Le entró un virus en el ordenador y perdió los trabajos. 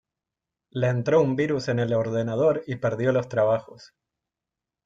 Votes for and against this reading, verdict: 2, 0, accepted